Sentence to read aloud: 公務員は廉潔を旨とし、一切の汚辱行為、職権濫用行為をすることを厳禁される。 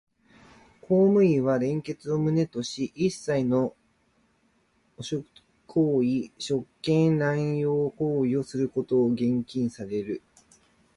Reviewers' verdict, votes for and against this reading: rejected, 1, 2